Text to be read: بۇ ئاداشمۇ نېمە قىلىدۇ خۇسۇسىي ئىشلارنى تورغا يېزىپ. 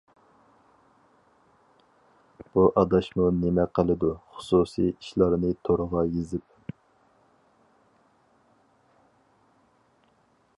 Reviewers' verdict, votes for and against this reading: accepted, 4, 0